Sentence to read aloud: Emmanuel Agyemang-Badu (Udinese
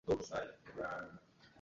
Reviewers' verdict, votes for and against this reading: rejected, 0, 2